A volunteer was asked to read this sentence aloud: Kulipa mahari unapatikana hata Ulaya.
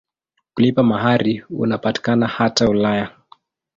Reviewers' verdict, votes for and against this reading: accepted, 2, 0